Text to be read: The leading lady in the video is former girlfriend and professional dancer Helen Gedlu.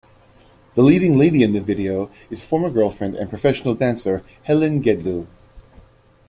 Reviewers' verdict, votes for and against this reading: accepted, 2, 0